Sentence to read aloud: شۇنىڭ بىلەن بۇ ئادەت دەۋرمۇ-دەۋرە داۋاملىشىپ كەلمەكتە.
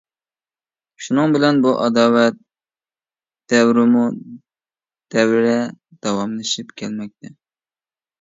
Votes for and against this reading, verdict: 0, 2, rejected